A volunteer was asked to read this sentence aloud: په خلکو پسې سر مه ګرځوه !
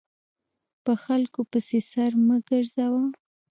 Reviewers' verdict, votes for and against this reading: rejected, 1, 2